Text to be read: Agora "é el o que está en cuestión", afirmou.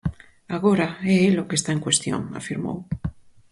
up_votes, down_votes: 4, 0